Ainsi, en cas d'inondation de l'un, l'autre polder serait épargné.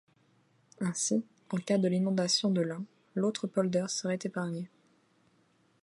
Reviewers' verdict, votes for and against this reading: rejected, 0, 2